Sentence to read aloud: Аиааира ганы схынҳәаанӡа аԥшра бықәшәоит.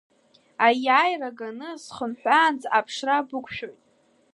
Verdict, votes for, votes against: accepted, 2, 1